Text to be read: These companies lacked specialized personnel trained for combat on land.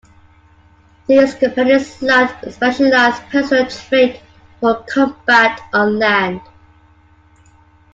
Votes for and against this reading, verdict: 0, 2, rejected